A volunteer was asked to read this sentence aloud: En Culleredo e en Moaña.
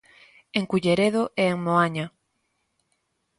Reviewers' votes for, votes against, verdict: 2, 0, accepted